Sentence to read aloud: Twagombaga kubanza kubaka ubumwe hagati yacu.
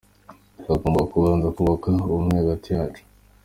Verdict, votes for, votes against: accepted, 2, 0